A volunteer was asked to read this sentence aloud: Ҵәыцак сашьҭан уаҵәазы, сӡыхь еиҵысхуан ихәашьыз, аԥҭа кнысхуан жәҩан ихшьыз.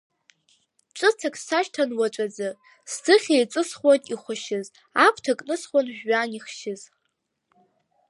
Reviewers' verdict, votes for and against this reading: accepted, 2, 0